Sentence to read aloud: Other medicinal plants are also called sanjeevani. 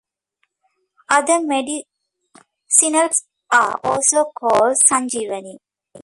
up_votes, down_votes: 0, 2